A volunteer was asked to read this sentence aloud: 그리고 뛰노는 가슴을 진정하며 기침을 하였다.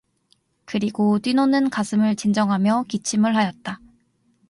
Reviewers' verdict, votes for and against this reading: accepted, 4, 0